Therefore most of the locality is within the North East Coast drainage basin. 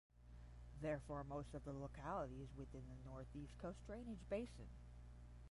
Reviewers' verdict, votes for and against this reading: rejected, 0, 5